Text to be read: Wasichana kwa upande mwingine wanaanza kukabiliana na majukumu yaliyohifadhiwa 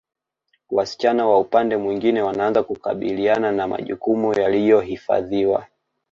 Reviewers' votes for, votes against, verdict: 0, 2, rejected